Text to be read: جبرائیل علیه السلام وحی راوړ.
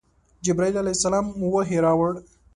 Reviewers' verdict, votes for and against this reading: accepted, 2, 0